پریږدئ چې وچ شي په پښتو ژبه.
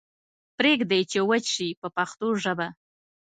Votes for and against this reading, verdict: 2, 0, accepted